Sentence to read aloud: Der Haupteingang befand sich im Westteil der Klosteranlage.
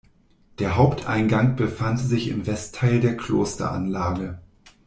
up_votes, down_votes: 0, 2